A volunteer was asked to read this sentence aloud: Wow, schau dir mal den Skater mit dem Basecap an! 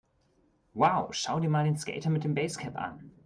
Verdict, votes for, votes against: accepted, 2, 0